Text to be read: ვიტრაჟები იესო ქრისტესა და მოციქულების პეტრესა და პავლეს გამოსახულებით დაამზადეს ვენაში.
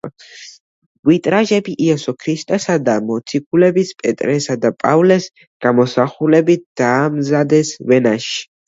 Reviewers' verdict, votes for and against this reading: accepted, 2, 0